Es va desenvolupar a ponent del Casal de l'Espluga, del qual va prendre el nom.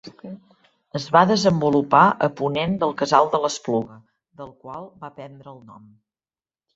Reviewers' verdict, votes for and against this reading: rejected, 1, 2